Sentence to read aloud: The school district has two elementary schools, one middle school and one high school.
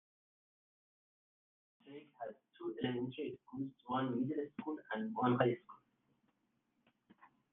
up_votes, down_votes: 0, 2